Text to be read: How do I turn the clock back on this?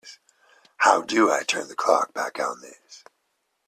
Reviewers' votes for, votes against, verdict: 2, 0, accepted